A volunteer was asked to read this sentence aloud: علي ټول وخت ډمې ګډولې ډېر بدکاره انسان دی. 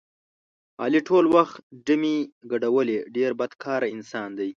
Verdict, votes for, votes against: accepted, 2, 0